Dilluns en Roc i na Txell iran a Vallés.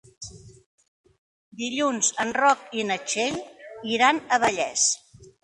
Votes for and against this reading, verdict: 4, 1, accepted